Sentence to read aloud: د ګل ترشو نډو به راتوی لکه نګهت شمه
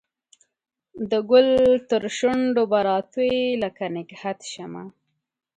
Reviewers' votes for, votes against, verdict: 2, 0, accepted